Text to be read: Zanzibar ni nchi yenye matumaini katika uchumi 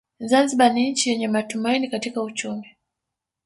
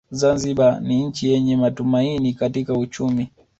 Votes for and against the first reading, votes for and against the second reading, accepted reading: 3, 2, 1, 2, first